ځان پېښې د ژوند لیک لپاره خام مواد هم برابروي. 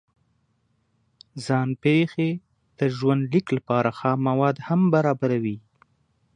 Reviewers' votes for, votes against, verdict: 2, 0, accepted